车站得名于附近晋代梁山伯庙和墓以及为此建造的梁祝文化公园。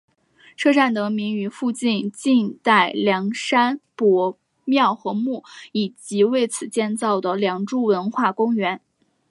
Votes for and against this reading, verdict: 2, 0, accepted